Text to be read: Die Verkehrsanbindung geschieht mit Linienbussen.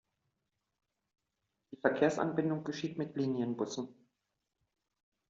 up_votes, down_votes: 0, 2